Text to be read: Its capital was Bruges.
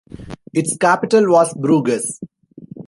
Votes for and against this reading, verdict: 1, 2, rejected